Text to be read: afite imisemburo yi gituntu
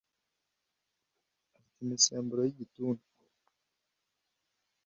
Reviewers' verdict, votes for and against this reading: rejected, 1, 2